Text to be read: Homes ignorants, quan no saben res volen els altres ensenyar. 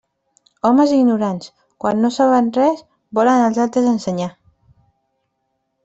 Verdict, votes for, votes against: rejected, 0, 2